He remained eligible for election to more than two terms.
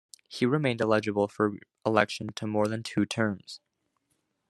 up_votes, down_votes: 2, 1